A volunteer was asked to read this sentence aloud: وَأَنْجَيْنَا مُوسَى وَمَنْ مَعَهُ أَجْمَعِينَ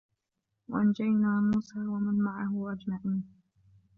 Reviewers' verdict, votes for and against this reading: rejected, 2, 3